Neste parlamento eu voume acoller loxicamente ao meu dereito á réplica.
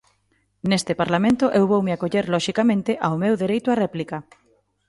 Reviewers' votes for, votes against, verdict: 2, 0, accepted